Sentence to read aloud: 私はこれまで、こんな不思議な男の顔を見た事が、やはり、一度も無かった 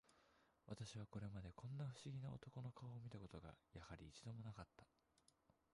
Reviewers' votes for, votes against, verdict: 0, 3, rejected